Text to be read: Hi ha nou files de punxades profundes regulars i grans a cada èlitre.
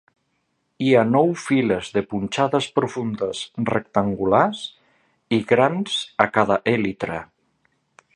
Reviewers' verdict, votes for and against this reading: rejected, 0, 2